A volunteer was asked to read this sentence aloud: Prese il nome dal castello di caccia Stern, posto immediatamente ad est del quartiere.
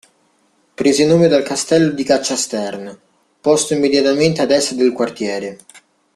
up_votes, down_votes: 2, 0